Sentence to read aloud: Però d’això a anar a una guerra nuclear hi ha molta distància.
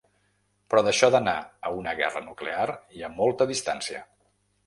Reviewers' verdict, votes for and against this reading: rejected, 1, 3